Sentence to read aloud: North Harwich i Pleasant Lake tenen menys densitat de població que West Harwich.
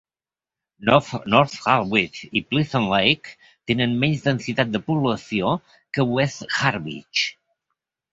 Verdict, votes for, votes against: rejected, 0, 2